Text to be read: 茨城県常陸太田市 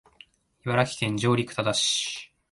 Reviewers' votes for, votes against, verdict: 1, 2, rejected